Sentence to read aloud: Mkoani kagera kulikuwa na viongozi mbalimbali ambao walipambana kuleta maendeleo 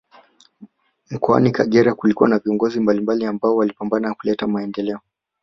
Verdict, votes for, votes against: accepted, 3, 1